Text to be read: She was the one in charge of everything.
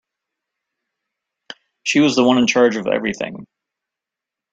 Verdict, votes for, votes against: accepted, 2, 0